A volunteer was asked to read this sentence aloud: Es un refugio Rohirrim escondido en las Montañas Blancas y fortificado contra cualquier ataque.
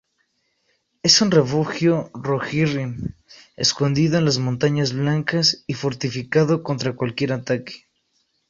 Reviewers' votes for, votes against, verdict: 2, 0, accepted